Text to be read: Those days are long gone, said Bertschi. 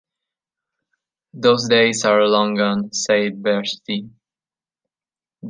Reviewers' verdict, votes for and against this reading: accepted, 2, 0